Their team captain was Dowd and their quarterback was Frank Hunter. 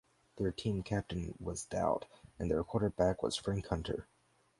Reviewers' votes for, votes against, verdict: 4, 0, accepted